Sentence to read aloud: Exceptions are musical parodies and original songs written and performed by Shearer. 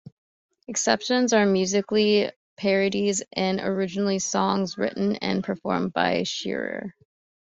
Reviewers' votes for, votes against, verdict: 1, 2, rejected